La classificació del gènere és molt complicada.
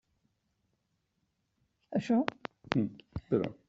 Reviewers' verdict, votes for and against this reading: rejected, 0, 2